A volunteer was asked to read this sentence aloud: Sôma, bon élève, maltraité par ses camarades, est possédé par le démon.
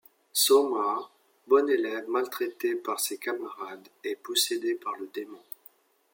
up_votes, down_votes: 2, 0